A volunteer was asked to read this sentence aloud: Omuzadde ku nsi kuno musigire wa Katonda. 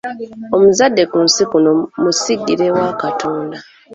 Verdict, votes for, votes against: accepted, 2, 0